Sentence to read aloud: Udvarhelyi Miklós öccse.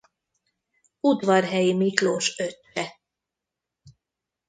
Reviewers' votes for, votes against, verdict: 1, 2, rejected